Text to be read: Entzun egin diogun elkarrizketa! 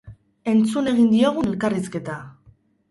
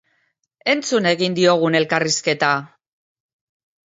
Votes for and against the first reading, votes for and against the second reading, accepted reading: 0, 2, 2, 0, second